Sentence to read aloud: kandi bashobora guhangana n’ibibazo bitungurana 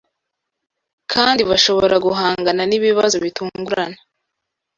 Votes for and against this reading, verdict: 2, 0, accepted